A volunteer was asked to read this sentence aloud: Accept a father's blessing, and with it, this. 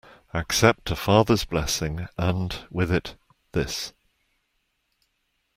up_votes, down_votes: 2, 0